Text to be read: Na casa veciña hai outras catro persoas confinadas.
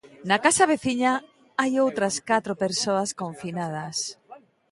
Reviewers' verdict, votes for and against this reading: rejected, 1, 2